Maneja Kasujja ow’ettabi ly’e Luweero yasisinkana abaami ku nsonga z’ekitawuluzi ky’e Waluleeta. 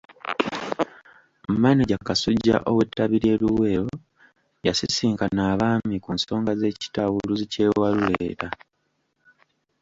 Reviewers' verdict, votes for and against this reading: rejected, 1, 2